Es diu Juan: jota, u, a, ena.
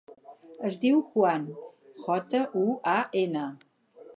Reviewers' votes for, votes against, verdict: 0, 4, rejected